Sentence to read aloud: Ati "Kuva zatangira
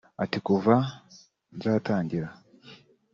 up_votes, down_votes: 4, 1